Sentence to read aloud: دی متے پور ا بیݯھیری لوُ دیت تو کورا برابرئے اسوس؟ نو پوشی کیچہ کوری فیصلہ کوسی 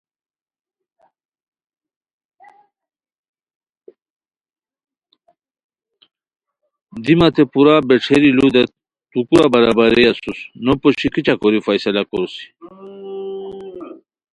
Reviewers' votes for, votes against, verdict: 1, 2, rejected